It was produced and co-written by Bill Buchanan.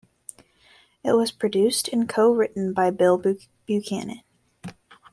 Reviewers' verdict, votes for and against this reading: rejected, 1, 2